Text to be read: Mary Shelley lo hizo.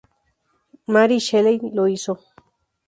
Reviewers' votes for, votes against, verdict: 4, 0, accepted